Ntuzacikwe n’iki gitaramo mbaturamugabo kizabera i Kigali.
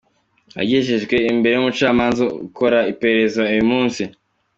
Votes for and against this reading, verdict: 0, 2, rejected